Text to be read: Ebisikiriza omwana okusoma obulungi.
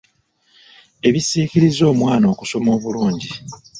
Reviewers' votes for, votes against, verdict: 1, 2, rejected